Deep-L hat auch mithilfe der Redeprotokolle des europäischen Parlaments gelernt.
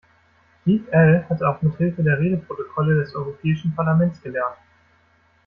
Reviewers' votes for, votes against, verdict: 2, 0, accepted